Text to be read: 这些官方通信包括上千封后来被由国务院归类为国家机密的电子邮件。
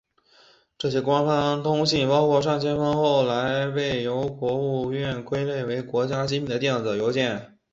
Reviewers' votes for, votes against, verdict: 4, 5, rejected